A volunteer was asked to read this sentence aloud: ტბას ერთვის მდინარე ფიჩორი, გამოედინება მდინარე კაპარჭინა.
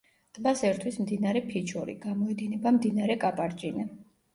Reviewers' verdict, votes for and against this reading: accepted, 2, 0